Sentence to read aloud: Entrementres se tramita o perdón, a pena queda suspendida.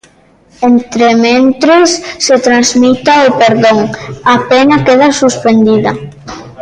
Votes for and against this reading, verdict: 0, 2, rejected